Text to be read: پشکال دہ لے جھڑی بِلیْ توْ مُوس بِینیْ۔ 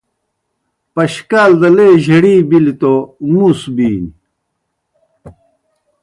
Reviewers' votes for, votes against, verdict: 2, 0, accepted